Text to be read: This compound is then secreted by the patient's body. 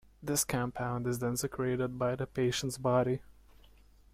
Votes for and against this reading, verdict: 2, 0, accepted